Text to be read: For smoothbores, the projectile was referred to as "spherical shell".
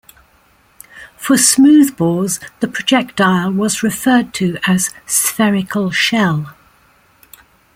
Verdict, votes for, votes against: accepted, 2, 0